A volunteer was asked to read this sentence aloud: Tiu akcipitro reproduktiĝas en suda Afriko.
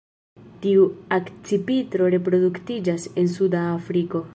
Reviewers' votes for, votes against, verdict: 2, 1, accepted